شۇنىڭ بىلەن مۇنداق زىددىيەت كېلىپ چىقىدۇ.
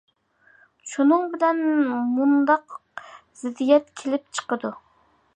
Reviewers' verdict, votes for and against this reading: accepted, 2, 0